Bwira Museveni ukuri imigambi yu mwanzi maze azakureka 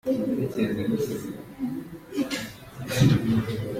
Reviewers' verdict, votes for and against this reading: rejected, 0, 2